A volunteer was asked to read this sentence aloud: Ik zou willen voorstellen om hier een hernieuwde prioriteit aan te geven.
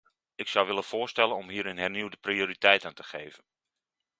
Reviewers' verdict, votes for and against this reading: accepted, 2, 0